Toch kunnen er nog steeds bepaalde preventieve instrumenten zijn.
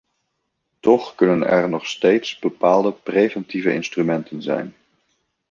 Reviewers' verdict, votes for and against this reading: rejected, 1, 2